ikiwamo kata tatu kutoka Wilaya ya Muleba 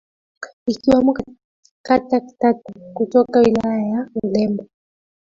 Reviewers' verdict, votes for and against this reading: rejected, 0, 2